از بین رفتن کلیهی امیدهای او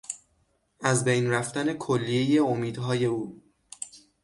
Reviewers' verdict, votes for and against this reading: accepted, 6, 0